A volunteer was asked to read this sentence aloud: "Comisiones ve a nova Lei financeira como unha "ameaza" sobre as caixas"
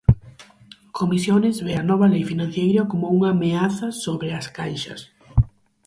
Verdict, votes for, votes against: rejected, 2, 4